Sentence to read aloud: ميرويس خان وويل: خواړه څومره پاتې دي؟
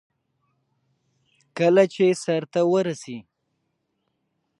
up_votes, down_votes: 0, 2